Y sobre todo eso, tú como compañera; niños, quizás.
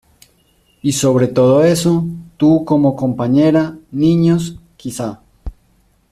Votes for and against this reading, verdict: 2, 0, accepted